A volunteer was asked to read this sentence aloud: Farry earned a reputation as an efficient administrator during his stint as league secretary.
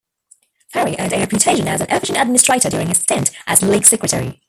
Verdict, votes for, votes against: rejected, 0, 2